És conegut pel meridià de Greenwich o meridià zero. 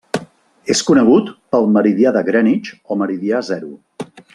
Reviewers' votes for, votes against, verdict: 0, 2, rejected